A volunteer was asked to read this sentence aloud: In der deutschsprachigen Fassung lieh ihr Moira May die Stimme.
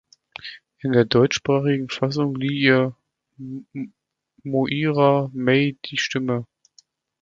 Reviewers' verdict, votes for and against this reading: rejected, 1, 2